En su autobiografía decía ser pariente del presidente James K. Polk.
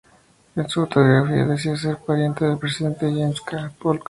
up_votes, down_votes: 4, 2